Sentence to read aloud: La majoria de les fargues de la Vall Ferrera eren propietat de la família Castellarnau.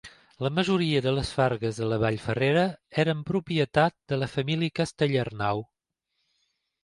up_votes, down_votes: 2, 1